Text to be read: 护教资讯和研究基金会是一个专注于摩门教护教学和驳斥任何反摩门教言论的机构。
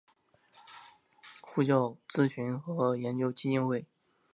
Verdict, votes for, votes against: rejected, 1, 2